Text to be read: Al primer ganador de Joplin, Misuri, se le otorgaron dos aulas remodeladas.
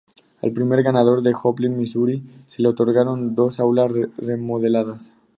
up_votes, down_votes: 2, 2